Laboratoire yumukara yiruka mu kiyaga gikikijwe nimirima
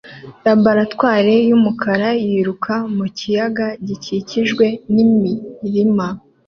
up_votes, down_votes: 2, 0